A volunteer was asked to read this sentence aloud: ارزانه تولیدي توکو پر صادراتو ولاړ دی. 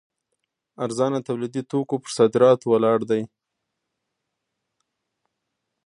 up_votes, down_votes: 2, 1